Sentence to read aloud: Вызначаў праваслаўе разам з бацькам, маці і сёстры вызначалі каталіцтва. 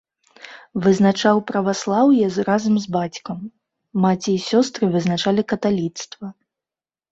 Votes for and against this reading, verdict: 1, 2, rejected